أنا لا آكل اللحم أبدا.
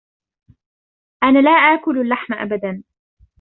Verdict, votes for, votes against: rejected, 0, 2